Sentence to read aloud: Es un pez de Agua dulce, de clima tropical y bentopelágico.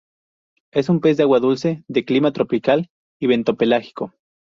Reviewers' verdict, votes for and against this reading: accepted, 2, 0